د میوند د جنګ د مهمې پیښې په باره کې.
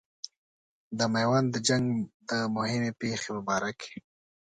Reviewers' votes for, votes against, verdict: 2, 0, accepted